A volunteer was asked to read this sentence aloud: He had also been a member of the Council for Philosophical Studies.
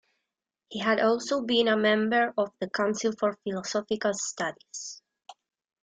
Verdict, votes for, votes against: accepted, 2, 0